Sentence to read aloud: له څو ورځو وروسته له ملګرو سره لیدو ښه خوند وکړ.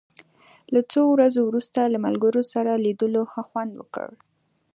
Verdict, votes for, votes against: accepted, 2, 0